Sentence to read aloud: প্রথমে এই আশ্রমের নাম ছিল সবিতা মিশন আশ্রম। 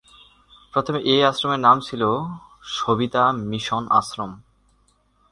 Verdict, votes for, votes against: accepted, 16, 4